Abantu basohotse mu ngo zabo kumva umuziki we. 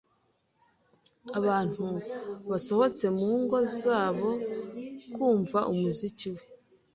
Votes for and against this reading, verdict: 2, 0, accepted